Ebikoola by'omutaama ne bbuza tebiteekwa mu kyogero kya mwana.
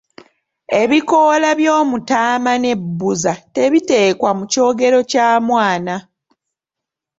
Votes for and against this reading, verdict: 2, 1, accepted